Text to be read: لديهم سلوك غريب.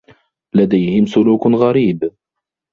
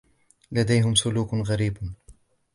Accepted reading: second